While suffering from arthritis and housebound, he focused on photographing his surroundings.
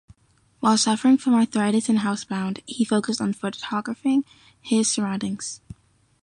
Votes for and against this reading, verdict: 0, 2, rejected